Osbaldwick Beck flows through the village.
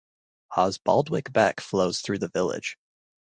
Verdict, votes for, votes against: accepted, 2, 0